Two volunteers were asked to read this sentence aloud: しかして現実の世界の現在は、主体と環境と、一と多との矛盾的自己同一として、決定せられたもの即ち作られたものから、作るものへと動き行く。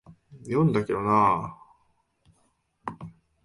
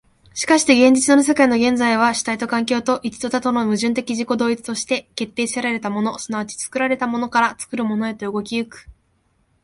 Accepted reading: second